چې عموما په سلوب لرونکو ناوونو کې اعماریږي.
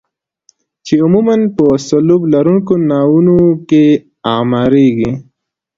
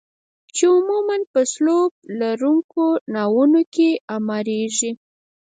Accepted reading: first